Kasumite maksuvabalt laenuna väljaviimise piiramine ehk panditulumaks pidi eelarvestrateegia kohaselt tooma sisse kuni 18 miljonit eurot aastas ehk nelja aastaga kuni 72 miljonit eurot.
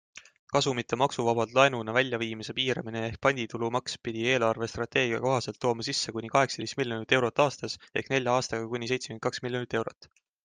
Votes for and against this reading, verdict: 0, 2, rejected